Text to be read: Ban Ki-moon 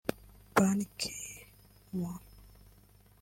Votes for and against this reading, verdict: 2, 1, accepted